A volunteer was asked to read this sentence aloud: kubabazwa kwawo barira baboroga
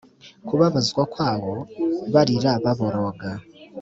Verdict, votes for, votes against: accepted, 3, 0